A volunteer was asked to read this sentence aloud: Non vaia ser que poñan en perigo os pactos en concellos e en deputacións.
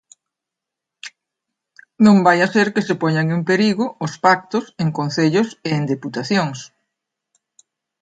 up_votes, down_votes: 0, 2